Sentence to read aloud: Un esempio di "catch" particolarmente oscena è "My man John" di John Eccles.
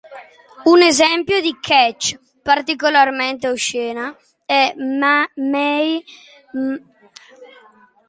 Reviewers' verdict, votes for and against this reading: rejected, 0, 2